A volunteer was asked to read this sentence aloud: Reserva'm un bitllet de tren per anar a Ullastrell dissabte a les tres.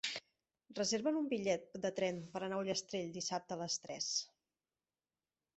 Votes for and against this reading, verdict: 3, 1, accepted